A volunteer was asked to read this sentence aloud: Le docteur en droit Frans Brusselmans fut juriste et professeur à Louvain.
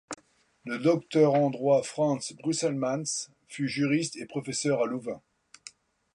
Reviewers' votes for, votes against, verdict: 2, 0, accepted